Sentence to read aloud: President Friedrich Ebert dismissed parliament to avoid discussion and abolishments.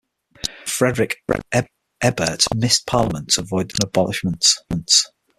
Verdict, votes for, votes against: rejected, 0, 6